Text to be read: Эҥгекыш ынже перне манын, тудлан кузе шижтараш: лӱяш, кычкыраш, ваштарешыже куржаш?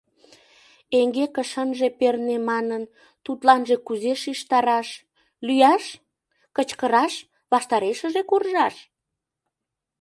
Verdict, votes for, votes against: rejected, 0, 2